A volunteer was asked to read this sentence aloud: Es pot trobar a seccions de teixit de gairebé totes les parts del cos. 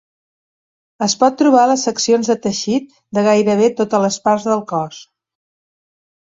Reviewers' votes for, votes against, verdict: 1, 2, rejected